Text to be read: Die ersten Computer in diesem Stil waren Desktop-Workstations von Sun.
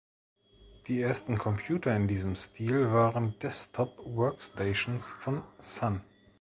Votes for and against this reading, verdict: 2, 0, accepted